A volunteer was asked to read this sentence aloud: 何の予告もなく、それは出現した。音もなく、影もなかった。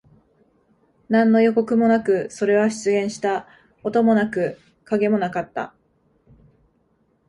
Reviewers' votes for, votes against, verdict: 2, 0, accepted